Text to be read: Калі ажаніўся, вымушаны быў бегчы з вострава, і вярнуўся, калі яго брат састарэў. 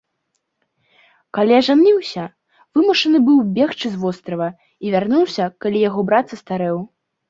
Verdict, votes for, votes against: accepted, 2, 0